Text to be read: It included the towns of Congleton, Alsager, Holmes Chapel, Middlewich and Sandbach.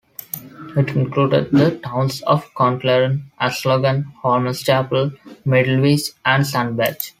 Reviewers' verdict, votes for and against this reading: rejected, 0, 2